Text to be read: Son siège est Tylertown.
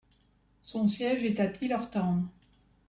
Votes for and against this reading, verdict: 0, 2, rejected